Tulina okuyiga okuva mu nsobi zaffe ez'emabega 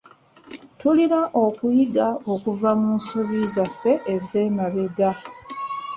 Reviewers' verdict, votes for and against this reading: accepted, 2, 0